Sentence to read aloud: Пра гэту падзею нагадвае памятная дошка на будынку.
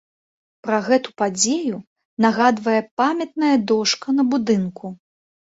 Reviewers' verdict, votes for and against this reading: accepted, 2, 0